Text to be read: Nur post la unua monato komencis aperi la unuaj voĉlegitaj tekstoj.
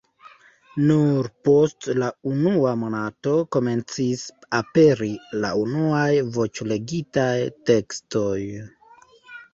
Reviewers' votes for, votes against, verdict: 2, 0, accepted